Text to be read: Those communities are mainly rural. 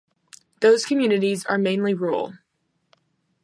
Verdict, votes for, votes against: accepted, 2, 0